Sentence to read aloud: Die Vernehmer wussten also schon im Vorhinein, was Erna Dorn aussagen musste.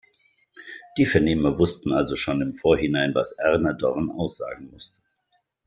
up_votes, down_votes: 2, 1